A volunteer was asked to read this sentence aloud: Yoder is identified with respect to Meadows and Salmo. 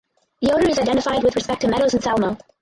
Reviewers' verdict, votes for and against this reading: rejected, 0, 2